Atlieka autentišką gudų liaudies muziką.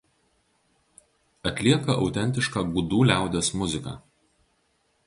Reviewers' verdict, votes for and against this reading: rejected, 2, 2